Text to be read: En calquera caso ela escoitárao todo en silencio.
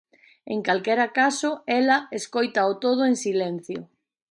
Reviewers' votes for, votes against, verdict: 0, 2, rejected